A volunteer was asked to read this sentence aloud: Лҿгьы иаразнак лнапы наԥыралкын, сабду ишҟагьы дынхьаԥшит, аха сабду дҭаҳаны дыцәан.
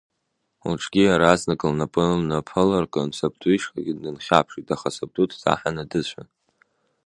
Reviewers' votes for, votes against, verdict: 1, 2, rejected